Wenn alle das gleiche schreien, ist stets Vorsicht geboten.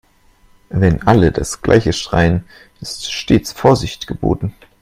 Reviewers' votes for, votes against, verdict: 2, 0, accepted